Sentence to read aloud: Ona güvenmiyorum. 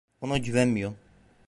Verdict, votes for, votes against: rejected, 1, 2